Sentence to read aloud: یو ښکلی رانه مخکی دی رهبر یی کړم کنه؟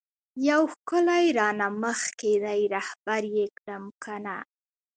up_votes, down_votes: 2, 0